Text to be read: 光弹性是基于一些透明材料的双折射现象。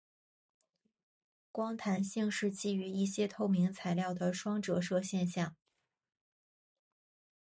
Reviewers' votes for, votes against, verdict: 0, 2, rejected